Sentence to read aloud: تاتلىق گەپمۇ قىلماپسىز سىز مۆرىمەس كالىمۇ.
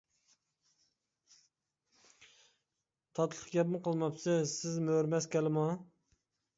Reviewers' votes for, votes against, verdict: 2, 0, accepted